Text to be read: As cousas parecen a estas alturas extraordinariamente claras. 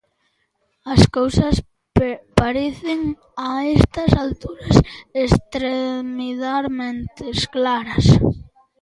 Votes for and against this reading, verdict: 0, 2, rejected